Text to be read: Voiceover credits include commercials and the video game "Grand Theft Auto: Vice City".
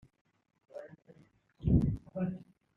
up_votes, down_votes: 0, 2